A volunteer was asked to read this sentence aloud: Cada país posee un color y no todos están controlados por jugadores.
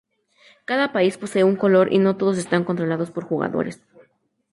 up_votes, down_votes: 2, 0